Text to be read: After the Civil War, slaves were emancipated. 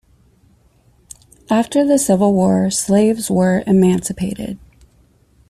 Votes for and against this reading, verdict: 2, 0, accepted